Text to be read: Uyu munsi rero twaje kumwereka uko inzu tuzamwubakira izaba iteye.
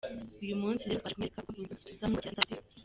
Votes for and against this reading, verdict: 0, 2, rejected